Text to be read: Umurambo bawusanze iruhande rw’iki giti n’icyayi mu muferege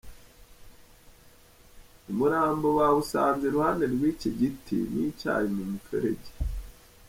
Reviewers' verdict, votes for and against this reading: accepted, 2, 0